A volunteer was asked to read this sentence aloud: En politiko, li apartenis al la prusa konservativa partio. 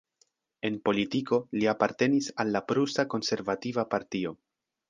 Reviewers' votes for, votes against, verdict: 2, 0, accepted